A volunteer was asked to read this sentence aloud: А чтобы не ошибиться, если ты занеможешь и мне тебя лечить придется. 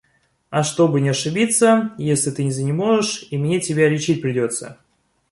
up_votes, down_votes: 0, 2